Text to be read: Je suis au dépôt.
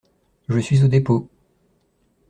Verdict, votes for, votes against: accepted, 2, 0